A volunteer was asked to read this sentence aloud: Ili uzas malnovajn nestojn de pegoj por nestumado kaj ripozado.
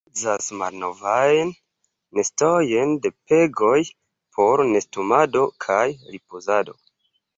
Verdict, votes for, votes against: rejected, 1, 2